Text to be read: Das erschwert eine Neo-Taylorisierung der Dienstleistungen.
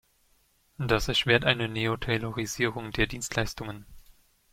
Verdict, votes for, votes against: accepted, 2, 0